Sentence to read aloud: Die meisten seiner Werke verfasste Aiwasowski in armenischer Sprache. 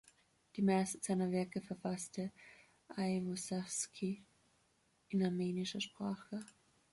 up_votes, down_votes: 2, 3